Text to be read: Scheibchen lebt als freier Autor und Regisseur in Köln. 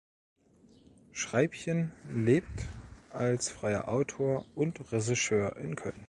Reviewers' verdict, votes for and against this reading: rejected, 1, 2